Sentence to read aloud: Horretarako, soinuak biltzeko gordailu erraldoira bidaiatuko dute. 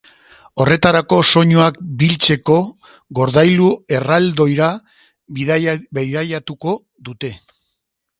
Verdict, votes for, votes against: rejected, 0, 2